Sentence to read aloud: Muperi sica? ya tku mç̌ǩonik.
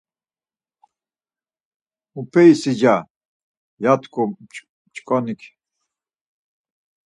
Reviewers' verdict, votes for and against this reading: rejected, 2, 4